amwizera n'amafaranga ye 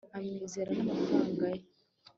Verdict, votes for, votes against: accepted, 3, 0